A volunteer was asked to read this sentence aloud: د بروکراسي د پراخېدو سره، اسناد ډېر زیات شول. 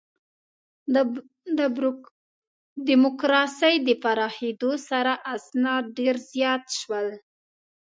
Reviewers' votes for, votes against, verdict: 0, 2, rejected